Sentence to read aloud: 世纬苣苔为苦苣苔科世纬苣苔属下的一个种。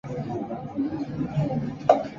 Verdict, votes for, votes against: rejected, 2, 3